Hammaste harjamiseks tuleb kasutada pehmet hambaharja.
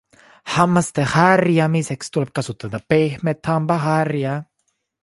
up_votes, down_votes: 1, 2